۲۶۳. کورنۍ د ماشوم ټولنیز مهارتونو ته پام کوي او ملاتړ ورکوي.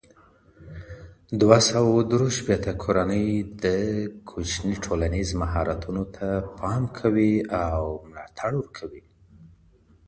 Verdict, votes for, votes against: rejected, 0, 2